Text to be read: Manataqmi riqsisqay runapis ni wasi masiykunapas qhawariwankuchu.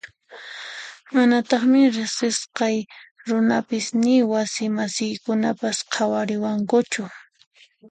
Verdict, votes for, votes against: accepted, 2, 0